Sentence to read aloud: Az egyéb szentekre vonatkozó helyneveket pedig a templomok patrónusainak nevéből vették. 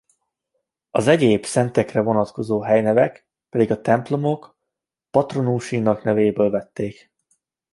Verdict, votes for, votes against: rejected, 0, 2